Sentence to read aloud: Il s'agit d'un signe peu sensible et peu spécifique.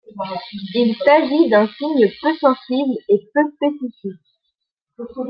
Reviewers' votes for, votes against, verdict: 2, 1, accepted